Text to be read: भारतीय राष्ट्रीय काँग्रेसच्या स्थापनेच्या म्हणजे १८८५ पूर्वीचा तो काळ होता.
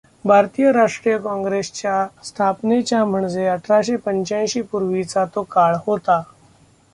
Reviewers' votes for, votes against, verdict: 0, 2, rejected